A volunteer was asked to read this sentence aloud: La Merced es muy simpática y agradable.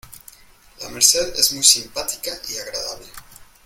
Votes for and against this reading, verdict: 2, 0, accepted